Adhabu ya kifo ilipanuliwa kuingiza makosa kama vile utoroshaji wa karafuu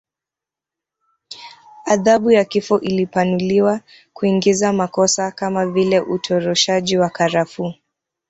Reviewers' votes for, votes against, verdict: 0, 2, rejected